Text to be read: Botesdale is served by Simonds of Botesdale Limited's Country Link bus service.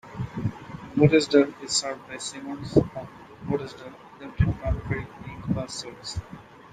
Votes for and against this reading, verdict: 2, 0, accepted